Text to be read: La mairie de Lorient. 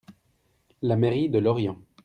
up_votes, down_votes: 2, 0